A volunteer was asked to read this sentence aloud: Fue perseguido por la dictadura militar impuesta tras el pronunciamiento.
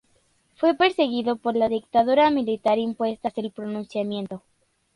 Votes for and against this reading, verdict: 0, 2, rejected